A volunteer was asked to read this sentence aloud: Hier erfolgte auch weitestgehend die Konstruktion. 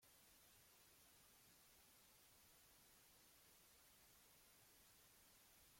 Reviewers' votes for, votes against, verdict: 0, 2, rejected